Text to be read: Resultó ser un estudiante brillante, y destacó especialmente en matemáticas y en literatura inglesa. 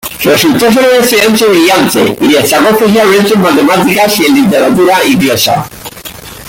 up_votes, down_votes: 1, 2